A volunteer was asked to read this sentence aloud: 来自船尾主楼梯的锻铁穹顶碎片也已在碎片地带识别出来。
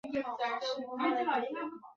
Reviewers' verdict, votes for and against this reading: rejected, 0, 2